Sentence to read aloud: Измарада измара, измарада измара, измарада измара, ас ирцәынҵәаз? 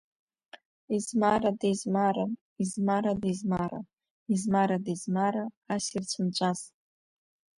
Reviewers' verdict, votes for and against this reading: accepted, 3, 0